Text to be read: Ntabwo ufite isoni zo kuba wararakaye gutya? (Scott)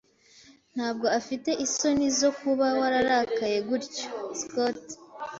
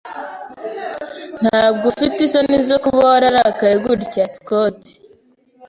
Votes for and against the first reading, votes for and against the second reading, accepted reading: 1, 2, 2, 0, second